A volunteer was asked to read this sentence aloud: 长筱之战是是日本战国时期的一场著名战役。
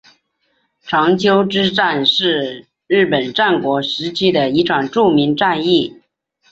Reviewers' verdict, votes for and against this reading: accepted, 5, 1